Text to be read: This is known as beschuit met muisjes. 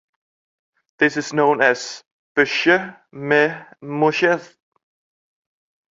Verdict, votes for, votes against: accepted, 2, 0